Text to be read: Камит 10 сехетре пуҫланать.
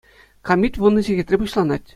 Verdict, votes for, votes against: rejected, 0, 2